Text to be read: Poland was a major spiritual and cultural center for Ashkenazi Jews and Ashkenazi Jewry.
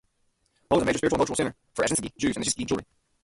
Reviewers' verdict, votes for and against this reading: rejected, 0, 2